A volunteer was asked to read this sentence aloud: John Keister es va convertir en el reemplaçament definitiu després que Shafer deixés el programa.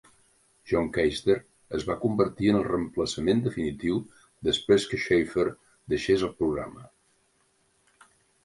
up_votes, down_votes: 4, 0